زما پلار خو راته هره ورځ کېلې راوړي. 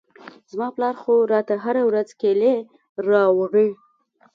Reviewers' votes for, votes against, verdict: 2, 0, accepted